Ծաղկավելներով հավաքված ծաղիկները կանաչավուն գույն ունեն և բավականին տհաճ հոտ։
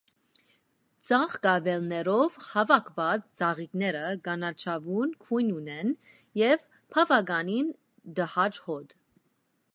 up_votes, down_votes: 1, 2